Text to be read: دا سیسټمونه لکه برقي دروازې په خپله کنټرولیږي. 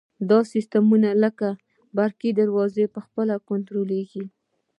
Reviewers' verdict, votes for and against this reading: accepted, 2, 1